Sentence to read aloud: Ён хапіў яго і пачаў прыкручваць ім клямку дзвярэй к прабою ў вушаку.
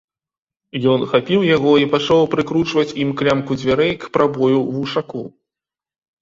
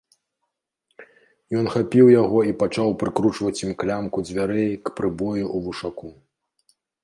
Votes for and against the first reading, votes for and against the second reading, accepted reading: 2, 0, 1, 2, first